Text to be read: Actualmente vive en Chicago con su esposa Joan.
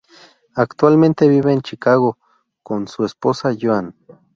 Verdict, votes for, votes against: accepted, 6, 0